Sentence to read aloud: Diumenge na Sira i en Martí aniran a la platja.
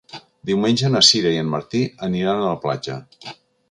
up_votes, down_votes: 2, 0